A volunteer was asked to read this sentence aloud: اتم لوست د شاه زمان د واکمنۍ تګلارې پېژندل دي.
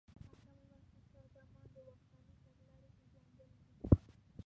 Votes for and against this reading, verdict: 1, 2, rejected